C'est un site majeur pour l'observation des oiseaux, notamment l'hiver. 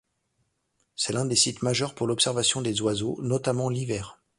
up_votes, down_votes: 0, 2